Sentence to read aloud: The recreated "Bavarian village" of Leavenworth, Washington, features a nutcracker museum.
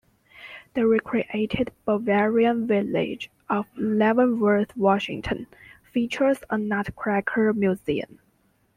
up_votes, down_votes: 2, 1